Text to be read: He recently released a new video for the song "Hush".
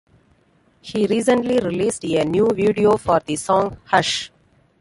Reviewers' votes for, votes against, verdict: 2, 0, accepted